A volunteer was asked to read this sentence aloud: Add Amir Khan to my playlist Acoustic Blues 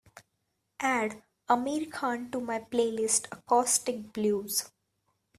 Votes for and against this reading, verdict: 2, 0, accepted